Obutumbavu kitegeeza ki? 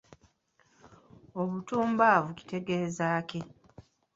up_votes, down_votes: 2, 1